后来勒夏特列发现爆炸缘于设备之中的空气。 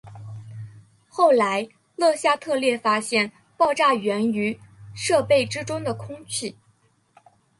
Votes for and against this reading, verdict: 2, 0, accepted